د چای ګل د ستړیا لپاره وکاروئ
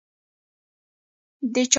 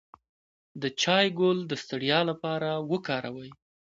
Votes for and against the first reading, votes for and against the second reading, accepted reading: 0, 2, 2, 0, second